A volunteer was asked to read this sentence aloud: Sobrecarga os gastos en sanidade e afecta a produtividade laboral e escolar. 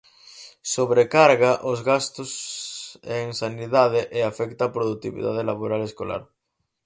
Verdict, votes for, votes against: rejected, 2, 2